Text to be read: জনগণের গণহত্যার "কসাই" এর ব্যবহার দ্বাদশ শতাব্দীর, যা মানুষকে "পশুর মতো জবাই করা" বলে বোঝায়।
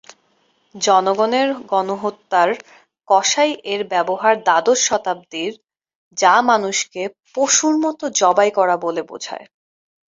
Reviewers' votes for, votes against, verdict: 8, 2, accepted